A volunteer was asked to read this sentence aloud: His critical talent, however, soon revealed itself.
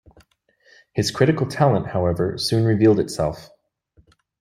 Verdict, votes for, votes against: accepted, 2, 0